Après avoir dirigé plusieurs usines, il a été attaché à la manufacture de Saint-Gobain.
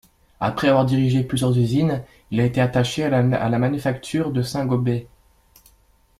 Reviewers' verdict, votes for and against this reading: rejected, 0, 2